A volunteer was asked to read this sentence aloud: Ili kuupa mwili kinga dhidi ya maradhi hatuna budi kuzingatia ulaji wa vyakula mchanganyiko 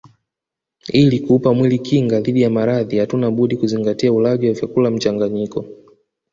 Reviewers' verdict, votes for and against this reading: accepted, 2, 1